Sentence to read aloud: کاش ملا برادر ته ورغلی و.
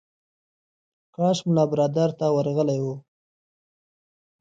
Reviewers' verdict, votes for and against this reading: accepted, 2, 0